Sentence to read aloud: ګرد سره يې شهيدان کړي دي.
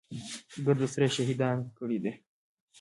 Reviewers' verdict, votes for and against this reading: rejected, 1, 2